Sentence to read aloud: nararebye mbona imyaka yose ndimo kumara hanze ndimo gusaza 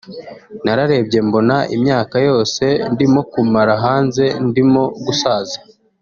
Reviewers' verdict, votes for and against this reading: accepted, 4, 0